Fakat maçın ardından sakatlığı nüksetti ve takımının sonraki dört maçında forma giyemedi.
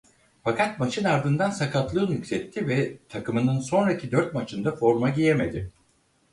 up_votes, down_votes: 4, 0